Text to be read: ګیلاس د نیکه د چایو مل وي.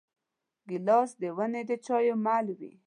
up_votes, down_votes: 1, 2